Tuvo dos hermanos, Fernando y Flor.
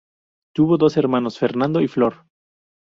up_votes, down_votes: 0, 2